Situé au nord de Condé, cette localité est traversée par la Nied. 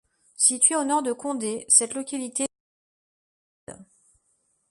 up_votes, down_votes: 0, 2